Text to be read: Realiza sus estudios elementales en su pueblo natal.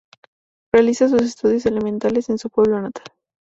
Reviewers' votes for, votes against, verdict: 2, 0, accepted